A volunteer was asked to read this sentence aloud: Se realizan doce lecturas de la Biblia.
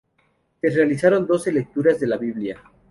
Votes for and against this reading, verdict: 0, 2, rejected